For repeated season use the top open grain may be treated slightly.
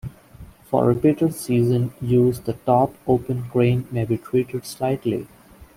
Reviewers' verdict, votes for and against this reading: rejected, 1, 2